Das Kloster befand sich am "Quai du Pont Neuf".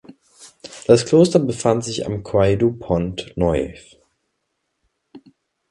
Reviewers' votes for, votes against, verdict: 0, 2, rejected